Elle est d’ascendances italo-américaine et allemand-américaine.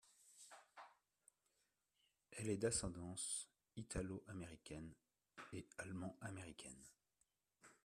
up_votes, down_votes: 2, 1